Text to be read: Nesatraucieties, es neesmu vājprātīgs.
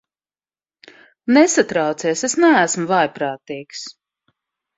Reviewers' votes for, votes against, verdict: 1, 2, rejected